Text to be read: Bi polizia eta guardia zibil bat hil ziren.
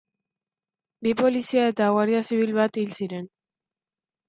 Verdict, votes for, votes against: accepted, 3, 0